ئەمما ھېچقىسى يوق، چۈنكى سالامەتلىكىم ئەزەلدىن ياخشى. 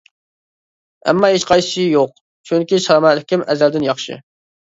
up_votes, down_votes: 0, 2